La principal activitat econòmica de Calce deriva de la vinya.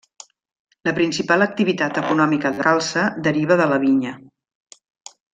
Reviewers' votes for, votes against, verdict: 1, 2, rejected